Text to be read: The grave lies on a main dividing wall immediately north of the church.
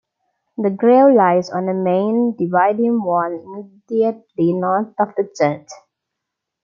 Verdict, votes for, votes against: accepted, 2, 1